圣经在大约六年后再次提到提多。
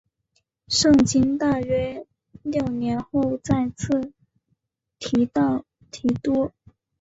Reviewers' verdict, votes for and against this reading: accepted, 4, 0